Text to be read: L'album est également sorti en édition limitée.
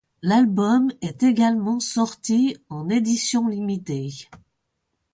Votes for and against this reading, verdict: 2, 0, accepted